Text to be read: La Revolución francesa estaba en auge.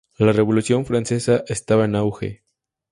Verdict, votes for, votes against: accepted, 2, 0